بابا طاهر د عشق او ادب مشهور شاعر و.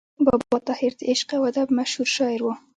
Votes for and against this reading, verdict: 1, 2, rejected